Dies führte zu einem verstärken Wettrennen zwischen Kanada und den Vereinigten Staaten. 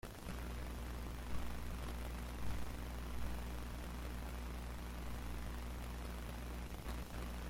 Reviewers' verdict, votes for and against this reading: rejected, 1, 2